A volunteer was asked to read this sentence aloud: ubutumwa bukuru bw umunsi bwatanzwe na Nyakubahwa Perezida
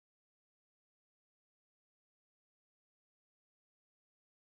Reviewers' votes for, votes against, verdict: 0, 2, rejected